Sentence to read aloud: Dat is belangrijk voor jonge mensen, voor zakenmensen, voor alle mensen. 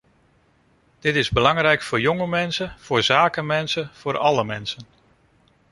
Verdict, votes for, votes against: rejected, 0, 2